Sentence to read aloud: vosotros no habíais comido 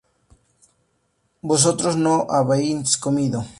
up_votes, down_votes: 0, 2